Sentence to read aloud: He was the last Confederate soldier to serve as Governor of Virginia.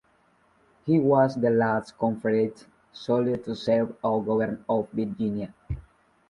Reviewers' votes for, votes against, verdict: 1, 2, rejected